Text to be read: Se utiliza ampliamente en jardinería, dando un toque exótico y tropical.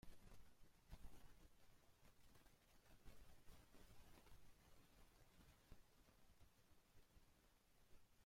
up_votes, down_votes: 0, 2